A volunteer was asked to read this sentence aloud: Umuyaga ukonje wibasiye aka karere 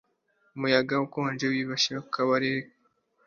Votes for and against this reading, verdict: 1, 2, rejected